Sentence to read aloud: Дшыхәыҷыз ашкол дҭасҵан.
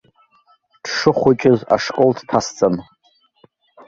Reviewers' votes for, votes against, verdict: 2, 0, accepted